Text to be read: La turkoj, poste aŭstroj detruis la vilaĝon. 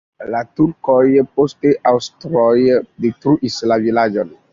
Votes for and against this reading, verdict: 2, 0, accepted